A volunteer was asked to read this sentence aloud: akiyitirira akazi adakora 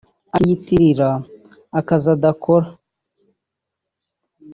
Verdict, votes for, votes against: rejected, 0, 2